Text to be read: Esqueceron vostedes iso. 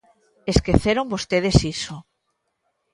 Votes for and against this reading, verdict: 2, 0, accepted